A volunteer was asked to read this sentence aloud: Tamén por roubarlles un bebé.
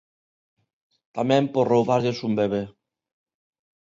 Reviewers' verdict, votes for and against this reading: accepted, 2, 0